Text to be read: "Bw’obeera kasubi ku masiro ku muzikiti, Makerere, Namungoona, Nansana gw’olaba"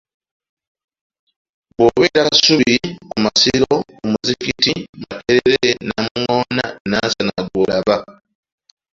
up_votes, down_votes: 0, 2